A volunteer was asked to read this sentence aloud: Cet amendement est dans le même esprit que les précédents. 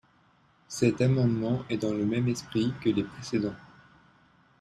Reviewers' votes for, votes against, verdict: 2, 0, accepted